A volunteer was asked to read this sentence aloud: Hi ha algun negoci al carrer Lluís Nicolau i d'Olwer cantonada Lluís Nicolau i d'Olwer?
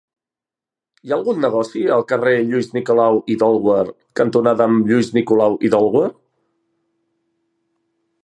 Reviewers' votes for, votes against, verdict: 1, 2, rejected